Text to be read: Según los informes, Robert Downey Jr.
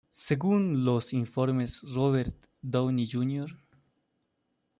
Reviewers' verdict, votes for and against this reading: accepted, 2, 1